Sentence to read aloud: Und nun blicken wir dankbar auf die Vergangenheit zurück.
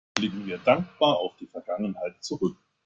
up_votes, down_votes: 1, 2